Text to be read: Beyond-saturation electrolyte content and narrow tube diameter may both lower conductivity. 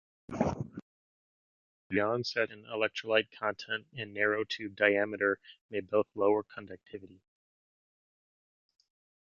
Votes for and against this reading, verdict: 2, 0, accepted